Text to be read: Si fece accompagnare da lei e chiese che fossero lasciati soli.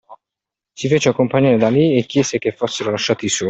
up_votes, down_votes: 0, 2